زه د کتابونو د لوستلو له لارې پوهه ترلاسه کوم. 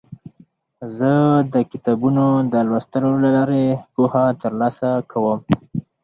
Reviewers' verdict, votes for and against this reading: accepted, 4, 0